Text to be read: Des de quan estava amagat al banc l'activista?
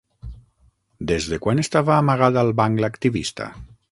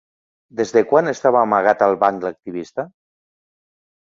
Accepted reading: second